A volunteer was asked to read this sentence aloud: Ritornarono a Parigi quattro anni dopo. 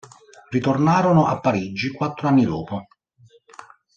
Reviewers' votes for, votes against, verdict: 2, 0, accepted